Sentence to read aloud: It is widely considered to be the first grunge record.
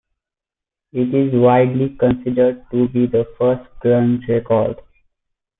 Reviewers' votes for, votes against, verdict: 2, 0, accepted